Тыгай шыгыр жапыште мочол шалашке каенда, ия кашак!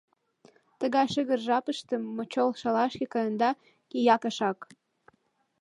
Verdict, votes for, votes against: accepted, 2, 0